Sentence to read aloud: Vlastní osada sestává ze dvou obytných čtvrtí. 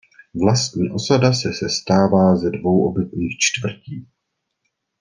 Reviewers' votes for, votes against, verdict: 0, 2, rejected